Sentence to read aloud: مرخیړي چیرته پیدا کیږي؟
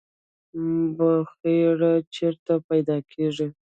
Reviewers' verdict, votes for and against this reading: rejected, 1, 2